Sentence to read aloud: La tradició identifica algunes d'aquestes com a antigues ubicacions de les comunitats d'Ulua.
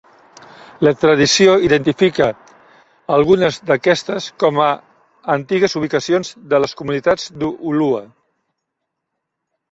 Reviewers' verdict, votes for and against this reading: rejected, 0, 2